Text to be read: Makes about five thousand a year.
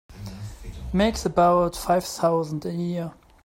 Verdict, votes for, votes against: rejected, 1, 2